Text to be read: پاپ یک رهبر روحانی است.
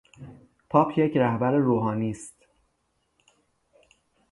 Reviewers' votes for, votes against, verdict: 3, 3, rejected